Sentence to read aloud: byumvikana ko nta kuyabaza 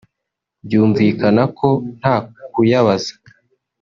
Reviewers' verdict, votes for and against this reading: accepted, 4, 0